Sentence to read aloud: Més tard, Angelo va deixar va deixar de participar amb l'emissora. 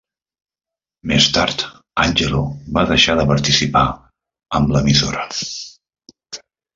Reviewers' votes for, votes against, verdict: 0, 2, rejected